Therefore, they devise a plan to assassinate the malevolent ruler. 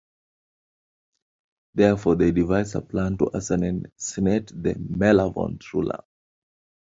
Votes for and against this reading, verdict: 1, 2, rejected